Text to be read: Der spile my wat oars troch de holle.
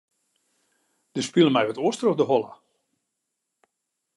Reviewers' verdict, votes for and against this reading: accepted, 2, 0